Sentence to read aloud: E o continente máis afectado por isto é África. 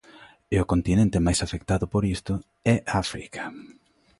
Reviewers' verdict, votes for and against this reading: accepted, 2, 0